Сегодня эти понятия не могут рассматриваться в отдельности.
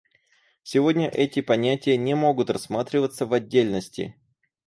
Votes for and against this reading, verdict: 4, 0, accepted